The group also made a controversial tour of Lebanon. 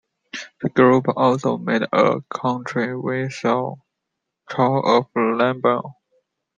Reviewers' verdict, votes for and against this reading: rejected, 1, 2